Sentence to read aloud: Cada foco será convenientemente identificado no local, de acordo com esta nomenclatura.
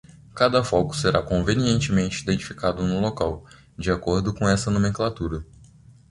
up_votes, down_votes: 1, 2